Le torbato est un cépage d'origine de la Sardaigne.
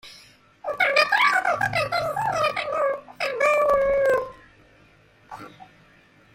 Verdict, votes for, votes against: rejected, 0, 2